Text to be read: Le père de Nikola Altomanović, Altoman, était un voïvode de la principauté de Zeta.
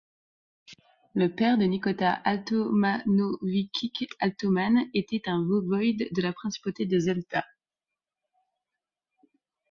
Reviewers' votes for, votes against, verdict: 0, 2, rejected